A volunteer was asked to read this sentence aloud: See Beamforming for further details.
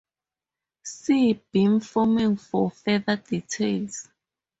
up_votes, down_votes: 0, 2